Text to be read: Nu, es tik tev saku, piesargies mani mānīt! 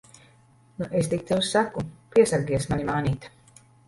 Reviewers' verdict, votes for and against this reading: rejected, 1, 2